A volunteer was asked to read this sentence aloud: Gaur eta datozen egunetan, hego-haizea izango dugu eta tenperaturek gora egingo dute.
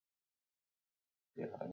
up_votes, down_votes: 0, 12